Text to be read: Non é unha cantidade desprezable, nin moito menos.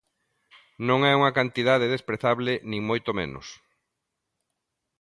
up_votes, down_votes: 2, 0